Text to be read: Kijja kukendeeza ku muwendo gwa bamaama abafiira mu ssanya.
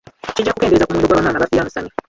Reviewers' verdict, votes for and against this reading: rejected, 0, 3